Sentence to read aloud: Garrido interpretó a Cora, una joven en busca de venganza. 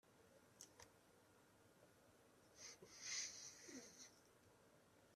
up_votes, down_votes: 0, 2